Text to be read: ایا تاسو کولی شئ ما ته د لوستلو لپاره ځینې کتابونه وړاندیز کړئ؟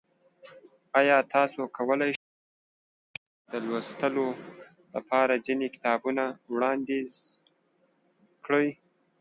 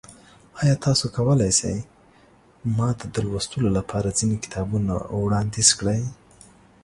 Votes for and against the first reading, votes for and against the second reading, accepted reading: 0, 2, 2, 0, second